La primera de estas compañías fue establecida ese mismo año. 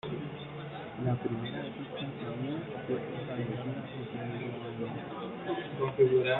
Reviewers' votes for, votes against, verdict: 1, 2, rejected